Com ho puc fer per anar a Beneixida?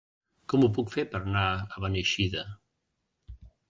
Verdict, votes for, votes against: rejected, 1, 2